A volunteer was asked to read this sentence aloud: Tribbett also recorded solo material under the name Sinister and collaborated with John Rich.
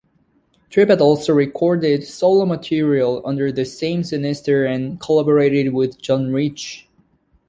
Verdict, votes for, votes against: rejected, 0, 2